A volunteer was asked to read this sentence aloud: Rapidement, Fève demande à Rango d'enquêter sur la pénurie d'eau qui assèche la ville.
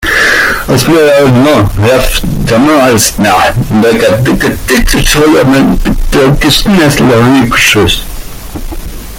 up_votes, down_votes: 0, 2